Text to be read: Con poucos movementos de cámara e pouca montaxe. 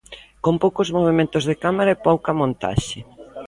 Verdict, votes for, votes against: accepted, 3, 0